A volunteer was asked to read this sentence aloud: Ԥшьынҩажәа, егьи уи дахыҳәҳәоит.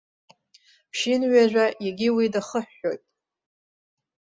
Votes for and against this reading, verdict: 2, 0, accepted